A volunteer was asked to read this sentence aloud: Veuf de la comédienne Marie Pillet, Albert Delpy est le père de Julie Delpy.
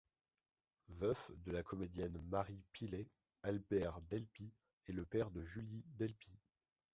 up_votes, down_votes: 2, 0